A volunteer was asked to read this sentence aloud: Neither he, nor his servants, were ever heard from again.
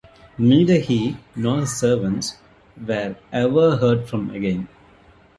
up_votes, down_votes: 2, 0